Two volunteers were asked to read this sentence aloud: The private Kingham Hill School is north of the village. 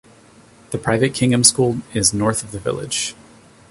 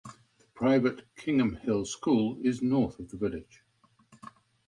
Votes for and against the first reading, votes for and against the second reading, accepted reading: 2, 0, 1, 2, first